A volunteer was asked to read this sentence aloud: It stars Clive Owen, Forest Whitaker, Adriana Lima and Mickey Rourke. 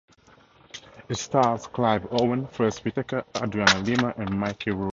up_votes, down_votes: 0, 4